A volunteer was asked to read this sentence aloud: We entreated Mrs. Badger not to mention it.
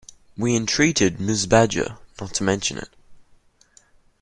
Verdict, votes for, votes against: accepted, 2, 0